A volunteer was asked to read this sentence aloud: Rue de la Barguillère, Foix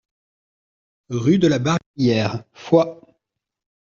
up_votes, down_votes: 1, 2